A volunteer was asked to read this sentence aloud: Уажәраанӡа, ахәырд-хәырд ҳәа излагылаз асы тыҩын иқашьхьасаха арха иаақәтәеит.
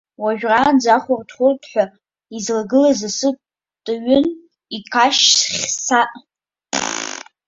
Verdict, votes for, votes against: rejected, 0, 2